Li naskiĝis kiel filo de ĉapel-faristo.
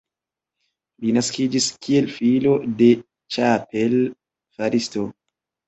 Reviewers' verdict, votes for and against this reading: accepted, 2, 0